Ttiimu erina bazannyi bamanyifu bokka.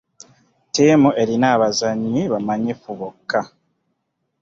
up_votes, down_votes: 2, 1